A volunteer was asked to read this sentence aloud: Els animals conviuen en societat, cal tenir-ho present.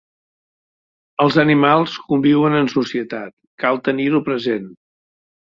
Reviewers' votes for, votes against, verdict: 4, 0, accepted